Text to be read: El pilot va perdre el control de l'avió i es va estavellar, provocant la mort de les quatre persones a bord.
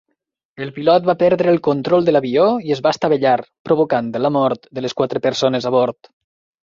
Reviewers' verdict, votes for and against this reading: rejected, 1, 2